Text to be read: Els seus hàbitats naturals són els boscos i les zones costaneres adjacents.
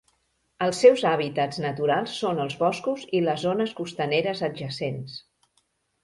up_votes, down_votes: 2, 0